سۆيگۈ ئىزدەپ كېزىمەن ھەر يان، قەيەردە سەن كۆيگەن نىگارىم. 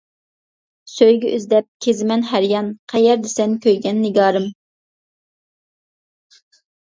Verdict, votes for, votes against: accepted, 2, 0